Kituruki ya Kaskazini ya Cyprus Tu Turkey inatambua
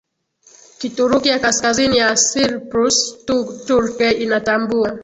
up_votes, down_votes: 4, 5